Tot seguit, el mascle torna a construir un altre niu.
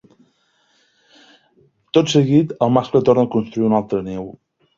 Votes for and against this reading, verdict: 3, 0, accepted